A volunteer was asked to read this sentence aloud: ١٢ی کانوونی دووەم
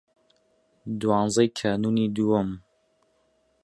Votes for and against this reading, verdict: 0, 2, rejected